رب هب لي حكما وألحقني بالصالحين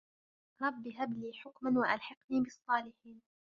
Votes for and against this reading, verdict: 0, 2, rejected